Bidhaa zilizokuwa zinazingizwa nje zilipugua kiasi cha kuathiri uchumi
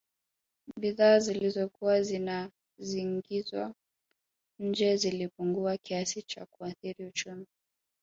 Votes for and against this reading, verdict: 1, 2, rejected